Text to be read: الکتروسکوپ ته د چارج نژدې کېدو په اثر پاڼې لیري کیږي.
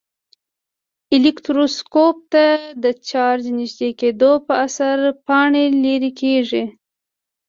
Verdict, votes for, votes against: accepted, 2, 0